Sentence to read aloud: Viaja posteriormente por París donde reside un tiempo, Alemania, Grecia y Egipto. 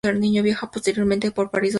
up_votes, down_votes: 0, 2